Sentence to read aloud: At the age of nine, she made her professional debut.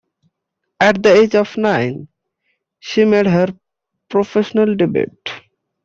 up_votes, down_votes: 0, 2